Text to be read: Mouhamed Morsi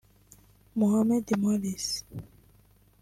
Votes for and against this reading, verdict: 0, 2, rejected